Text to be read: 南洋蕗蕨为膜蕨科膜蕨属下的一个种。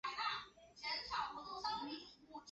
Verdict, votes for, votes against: rejected, 1, 2